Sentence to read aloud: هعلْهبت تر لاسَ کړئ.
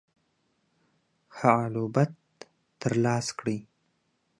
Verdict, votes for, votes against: accepted, 2, 0